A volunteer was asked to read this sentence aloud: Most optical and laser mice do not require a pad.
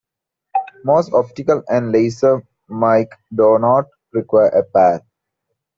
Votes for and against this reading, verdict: 1, 2, rejected